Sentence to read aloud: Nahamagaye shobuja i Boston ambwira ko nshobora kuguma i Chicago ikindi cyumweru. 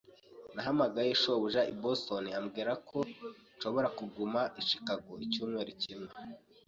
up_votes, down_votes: 1, 2